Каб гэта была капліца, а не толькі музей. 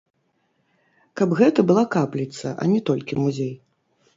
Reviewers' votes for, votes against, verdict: 1, 3, rejected